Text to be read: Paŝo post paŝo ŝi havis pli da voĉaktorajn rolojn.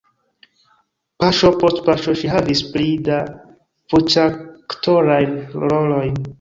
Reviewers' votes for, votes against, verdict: 2, 1, accepted